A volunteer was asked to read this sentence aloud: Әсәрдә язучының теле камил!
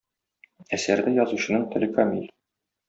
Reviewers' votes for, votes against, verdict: 0, 2, rejected